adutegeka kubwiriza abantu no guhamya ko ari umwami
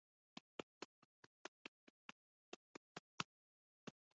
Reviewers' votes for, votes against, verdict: 0, 2, rejected